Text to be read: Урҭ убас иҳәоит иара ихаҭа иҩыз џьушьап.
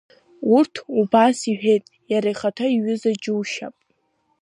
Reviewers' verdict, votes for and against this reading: rejected, 0, 2